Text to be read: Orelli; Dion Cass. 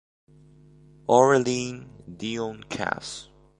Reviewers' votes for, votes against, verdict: 2, 0, accepted